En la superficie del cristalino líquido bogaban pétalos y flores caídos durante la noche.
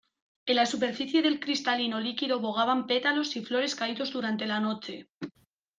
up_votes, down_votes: 2, 0